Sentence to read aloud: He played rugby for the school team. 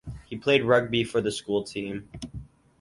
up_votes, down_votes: 4, 0